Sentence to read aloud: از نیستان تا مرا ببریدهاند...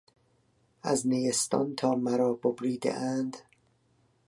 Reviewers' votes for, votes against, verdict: 2, 0, accepted